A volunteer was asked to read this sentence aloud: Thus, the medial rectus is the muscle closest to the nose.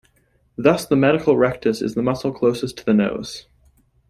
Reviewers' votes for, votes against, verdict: 1, 2, rejected